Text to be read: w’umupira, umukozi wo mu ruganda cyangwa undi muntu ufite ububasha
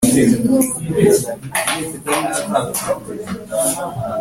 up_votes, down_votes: 1, 2